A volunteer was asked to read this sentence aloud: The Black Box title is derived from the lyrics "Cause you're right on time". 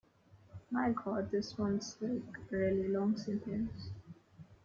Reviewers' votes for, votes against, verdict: 0, 2, rejected